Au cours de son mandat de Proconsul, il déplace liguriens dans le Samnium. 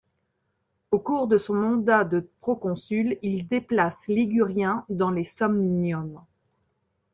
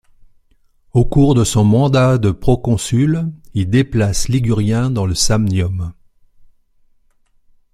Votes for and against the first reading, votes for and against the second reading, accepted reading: 1, 2, 2, 0, second